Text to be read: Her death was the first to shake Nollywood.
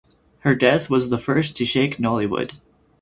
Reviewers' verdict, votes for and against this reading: accepted, 4, 0